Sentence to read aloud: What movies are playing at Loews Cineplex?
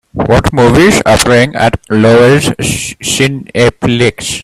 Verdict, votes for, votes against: rejected, 0, 2